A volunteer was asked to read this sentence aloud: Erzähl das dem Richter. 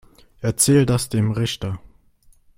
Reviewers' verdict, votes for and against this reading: accepted, 3, 0